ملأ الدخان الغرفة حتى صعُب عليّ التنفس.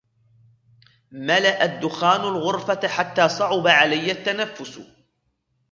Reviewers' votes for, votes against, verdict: 2, 1, accepted